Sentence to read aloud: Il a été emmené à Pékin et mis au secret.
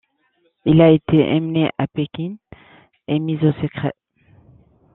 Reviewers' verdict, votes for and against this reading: accepted, 2, 0